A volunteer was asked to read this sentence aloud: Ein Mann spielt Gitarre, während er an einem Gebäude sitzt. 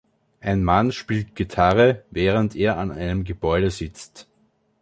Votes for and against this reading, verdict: 2, 0, accepted